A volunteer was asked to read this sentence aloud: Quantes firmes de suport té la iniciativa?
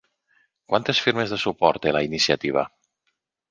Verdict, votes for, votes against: accepted, 2, 0